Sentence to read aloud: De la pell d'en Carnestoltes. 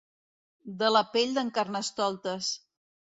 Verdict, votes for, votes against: accepted, 2, 0